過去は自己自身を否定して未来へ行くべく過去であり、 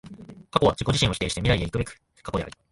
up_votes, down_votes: 1, 2